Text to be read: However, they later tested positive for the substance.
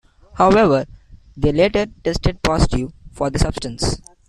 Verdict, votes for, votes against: accepted, 2, 0